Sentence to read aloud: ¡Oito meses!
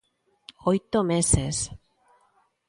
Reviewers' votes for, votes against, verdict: 3, 0, accepted